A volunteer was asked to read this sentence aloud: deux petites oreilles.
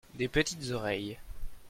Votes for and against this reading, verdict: 0, 2, rejected